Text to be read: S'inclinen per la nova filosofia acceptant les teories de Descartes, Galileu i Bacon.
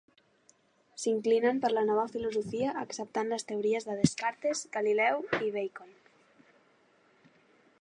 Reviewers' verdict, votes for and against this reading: accepted, 3, 0